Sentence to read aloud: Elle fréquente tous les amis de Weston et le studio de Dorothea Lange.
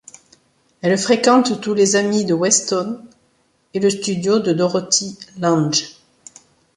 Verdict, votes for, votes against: accepted, 2, 0